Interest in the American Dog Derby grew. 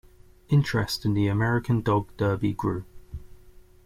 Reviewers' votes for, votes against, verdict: 2, 0, accepted